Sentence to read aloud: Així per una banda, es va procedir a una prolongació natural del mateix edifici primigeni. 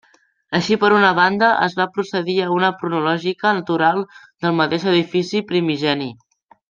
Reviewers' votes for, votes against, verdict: 0, 2, rejected